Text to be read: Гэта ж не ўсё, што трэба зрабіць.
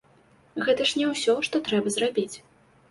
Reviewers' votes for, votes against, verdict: 2, 0, accepted